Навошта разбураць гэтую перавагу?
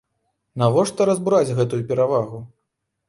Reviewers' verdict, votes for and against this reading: accepted, 2, 0